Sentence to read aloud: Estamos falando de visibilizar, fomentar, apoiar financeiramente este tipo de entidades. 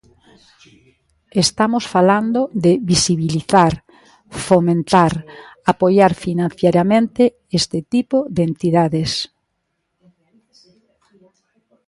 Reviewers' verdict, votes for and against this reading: rejected, 0, 2